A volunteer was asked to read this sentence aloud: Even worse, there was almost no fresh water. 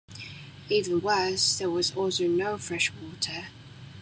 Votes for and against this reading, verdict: 1, 2, rejected